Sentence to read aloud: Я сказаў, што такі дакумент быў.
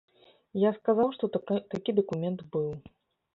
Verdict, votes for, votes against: rejected, 0, 2